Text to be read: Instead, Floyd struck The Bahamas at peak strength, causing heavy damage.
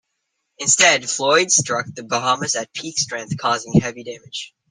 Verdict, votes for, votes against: accepted, 2, 0